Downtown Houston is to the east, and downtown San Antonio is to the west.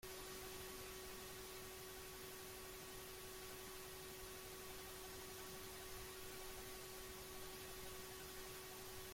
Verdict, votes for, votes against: rejected, 0, 3